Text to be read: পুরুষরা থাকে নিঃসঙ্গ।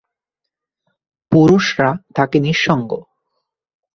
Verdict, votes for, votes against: accepted, 7, 0